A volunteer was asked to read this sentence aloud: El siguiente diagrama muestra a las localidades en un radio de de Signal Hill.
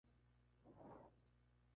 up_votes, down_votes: 0, 2